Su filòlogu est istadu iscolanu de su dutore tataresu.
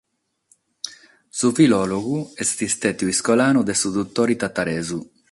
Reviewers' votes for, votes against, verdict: 6, 0, accepted